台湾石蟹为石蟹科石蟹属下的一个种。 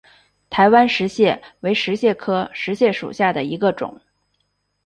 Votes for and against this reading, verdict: 3, 1, accepted